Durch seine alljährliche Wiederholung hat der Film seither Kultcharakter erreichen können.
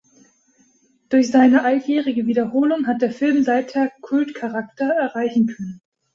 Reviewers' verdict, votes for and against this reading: rejected, 1, 2